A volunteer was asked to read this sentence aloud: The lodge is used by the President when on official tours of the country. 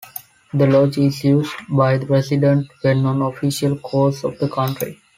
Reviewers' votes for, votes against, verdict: 0, 2, rejected